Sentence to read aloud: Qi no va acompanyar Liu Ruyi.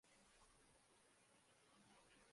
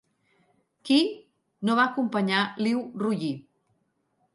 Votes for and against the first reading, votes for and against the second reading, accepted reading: 0, 2, 3, 0, second